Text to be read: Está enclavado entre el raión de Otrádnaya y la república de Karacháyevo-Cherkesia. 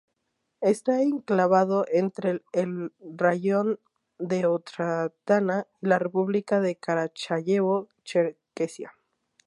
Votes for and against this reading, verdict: 2, 2, rejected